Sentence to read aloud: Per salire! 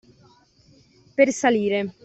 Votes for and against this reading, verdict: 2, 0, accepted